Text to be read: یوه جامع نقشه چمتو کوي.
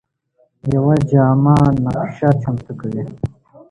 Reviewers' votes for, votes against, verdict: 1, 2, rejected